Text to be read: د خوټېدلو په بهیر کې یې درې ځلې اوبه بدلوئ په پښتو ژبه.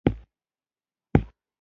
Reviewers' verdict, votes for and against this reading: rejected, 0, 2